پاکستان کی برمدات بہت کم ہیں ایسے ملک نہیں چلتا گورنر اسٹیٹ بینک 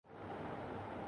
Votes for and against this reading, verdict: 4, 5, rejected